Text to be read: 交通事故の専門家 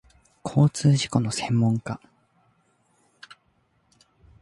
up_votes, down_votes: 2, 0